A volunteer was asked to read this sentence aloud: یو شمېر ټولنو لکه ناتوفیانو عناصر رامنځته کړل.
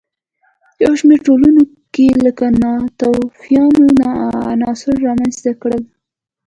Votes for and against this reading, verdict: 2, 0, accepted